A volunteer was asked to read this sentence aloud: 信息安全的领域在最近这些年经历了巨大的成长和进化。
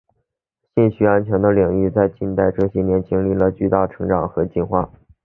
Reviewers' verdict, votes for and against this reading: accepted, 2, 0